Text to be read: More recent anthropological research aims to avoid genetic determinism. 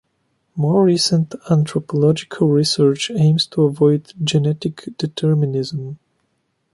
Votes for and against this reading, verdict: 2, 0, accepted